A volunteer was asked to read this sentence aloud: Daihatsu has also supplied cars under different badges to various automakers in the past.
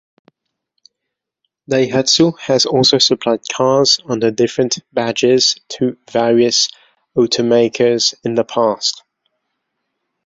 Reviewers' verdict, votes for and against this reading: accepted, 2, 0